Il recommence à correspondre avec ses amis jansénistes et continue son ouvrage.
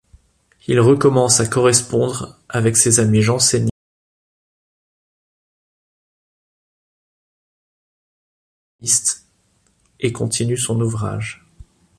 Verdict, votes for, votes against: rejected, 0, 2